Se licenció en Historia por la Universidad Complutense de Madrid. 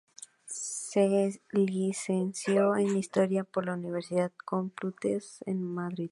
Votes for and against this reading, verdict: 0, 2, rejected